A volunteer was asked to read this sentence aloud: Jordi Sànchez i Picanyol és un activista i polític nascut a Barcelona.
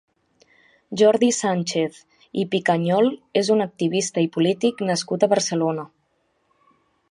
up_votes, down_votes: 3, 0